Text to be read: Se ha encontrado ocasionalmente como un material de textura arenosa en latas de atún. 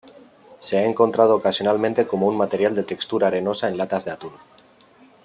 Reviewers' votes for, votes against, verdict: 2, 0, accepted